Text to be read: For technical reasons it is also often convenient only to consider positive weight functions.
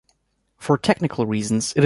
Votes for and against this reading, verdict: 0, 2, rejected